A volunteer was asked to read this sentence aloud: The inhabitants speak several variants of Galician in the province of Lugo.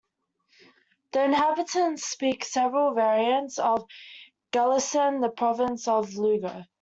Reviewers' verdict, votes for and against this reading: rejected, 0, 2